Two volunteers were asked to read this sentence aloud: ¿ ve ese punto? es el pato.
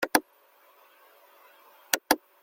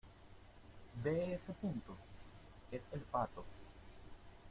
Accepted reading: second